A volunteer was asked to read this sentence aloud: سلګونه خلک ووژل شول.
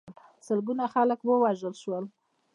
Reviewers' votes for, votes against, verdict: 1, 2, rejected